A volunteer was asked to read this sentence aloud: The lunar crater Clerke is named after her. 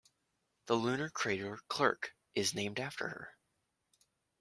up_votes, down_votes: 2, 1